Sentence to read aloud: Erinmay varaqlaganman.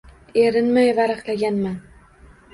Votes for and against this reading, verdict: 2, 0, accepted